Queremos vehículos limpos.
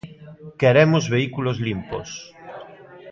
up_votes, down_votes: 2, 0